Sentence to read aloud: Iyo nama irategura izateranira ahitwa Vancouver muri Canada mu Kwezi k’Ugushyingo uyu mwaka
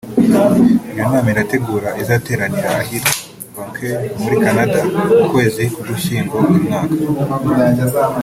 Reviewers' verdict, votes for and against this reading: rejected, 1, 2